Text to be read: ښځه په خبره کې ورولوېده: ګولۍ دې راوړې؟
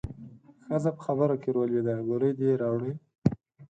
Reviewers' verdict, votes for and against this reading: accepted, 4, 0